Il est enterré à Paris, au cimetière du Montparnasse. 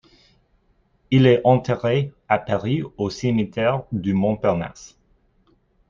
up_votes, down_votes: 2, 1